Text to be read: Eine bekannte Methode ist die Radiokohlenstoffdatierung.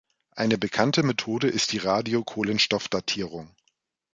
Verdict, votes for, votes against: accepted, 2, 0